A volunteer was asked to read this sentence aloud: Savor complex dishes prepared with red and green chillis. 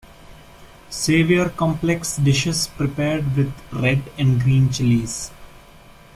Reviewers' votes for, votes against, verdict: 0, 2, rejected